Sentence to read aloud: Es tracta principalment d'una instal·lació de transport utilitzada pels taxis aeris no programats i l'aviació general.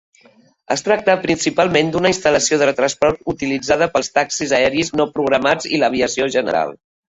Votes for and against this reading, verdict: 1, 2, rejected